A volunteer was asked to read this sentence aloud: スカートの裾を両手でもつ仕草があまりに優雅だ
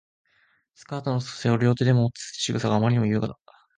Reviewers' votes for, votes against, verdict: 0, 2, rejected